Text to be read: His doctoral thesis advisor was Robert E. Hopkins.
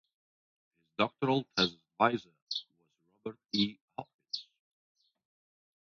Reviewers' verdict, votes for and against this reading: rejected, 0, 2